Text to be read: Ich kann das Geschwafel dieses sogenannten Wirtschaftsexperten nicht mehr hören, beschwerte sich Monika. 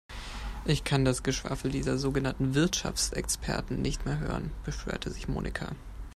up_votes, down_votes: 2, 3